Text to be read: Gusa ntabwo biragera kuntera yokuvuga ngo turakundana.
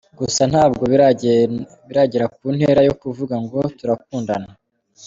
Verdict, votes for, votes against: accepted, 2, 0